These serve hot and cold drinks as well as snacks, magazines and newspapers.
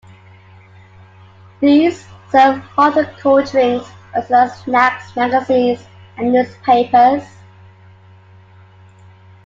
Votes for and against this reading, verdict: 2, 0, accepted